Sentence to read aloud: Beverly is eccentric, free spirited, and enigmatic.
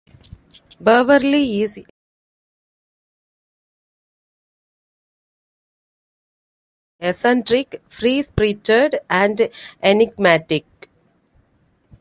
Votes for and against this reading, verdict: 0, 2, rejected